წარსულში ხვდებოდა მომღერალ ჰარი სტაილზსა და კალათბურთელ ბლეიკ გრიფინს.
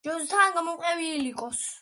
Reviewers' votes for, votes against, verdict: 0, 2, rejected